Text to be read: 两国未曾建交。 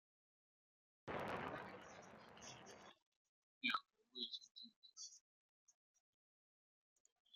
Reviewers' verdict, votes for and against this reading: rejected, 0, 2